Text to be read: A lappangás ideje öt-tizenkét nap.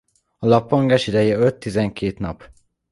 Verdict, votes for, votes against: accepted, 2, 0